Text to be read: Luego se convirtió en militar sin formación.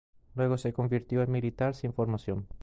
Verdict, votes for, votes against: accepted, 2, 0